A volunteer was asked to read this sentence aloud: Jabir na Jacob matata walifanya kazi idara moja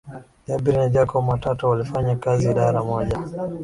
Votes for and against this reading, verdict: 8, 4, accepted